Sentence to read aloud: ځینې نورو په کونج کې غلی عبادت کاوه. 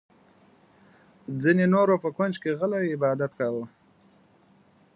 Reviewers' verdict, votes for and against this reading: accepted, 2, 0